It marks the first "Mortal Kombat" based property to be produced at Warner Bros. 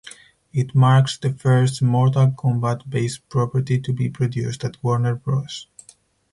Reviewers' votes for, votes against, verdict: 4, 0, accepted